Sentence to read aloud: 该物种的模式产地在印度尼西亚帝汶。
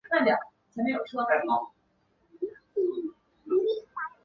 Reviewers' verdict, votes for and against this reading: rejected, 1, 4